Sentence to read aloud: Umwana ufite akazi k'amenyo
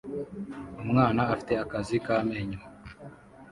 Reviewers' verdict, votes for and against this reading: rejected, 1, 2